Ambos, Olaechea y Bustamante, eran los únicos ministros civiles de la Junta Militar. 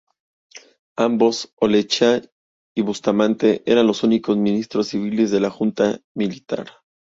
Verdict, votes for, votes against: accepted, 2, 0